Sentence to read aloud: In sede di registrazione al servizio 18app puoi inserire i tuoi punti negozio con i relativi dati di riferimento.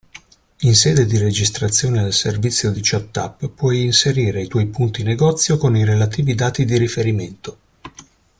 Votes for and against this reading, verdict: 0, 2, rejected